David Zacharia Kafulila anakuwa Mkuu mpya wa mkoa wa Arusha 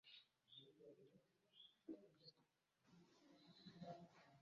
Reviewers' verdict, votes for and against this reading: rejected, 0, 2